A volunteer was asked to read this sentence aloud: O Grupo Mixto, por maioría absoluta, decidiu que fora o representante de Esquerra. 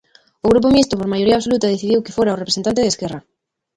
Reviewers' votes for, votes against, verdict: 0, 2, rejected